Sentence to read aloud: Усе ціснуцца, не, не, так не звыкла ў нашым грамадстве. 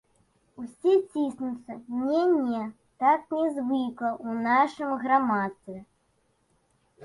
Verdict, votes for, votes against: accepted, 2, 0